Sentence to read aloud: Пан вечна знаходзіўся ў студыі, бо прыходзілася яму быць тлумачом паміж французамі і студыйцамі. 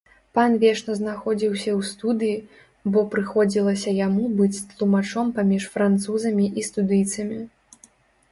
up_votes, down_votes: 2, 0